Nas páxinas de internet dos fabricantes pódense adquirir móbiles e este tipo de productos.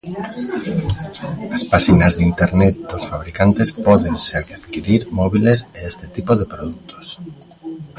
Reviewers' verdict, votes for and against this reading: rejected, 0, 2